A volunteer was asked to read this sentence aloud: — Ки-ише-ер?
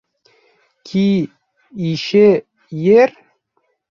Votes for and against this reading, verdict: 1, 2, rejected